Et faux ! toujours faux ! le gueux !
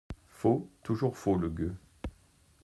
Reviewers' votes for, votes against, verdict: 0, 2, rejected